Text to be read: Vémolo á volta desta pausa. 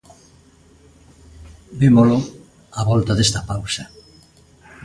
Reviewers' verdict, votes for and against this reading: accepted, 2, 0